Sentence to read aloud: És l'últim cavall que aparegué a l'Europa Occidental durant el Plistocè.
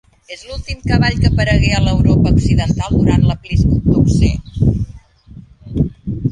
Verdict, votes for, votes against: rejected, 0, 2